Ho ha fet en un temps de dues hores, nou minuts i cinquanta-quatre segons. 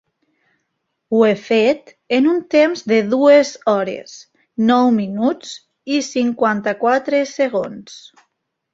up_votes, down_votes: 1, 2